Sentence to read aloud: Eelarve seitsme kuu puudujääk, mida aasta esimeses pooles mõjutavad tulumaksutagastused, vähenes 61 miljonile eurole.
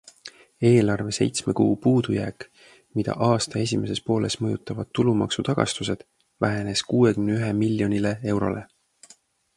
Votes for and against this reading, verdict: 0, 2, rejected